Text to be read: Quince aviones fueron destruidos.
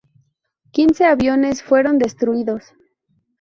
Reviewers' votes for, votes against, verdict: 2, 0, accepted